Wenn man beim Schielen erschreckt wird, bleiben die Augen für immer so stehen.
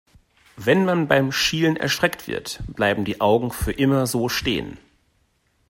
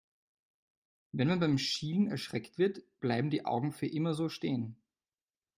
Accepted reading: first